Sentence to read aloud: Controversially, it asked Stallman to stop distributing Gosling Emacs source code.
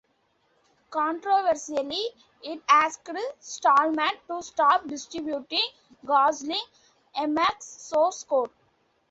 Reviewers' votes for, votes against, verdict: 2, 0, accepted